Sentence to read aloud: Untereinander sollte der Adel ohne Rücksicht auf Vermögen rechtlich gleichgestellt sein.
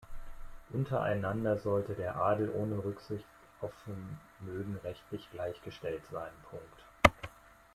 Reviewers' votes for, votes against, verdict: 1, 2, rejected